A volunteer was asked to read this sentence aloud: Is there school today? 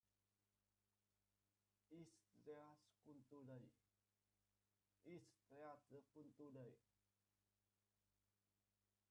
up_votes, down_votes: 0, 2